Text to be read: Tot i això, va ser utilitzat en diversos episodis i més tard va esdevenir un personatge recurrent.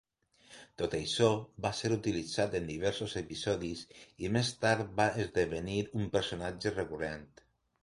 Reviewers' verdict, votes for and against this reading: accepted, 3, 0